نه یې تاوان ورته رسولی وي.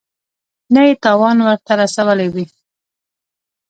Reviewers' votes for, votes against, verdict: 3, 0, accepted